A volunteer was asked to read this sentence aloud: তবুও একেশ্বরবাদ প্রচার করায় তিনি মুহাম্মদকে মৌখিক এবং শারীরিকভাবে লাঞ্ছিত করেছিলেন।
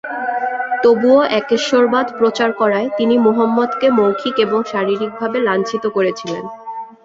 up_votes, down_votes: 0, 2